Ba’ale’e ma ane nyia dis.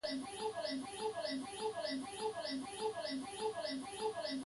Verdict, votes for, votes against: rejected, 1, 2